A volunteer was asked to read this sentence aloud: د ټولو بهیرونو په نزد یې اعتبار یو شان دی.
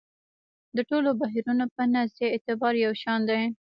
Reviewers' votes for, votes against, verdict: 0, 2, rejected